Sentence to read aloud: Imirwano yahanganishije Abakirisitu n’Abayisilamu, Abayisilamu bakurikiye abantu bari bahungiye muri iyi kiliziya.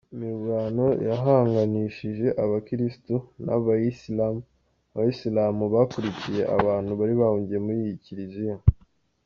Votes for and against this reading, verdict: 2, 0, accepted